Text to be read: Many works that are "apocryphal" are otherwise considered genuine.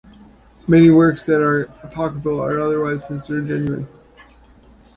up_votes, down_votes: 1, 2